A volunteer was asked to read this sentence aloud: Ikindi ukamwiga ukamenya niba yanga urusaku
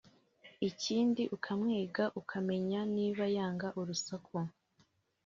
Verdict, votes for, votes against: accepted, 2, 0